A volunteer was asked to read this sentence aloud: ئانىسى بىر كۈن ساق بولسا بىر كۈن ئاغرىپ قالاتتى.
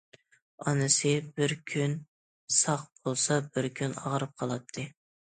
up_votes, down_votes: 2, 0